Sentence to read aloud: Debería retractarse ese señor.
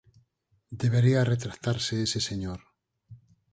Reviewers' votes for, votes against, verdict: 4, 0, accepted